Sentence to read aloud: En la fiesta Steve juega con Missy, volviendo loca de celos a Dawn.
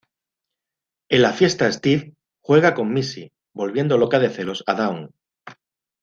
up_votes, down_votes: 2, 0